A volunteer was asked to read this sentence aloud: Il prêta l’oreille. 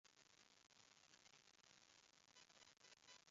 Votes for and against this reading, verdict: 0, 2, rejected